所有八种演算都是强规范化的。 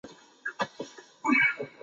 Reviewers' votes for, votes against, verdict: 0, 2, rejected